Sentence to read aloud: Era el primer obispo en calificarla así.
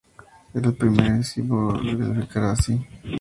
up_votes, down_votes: 0, 2